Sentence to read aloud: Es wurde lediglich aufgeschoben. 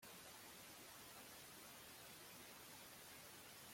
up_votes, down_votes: 0, 2